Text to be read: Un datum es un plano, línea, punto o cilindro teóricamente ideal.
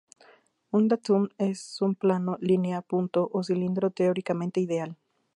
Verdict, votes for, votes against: rejected, 2, 6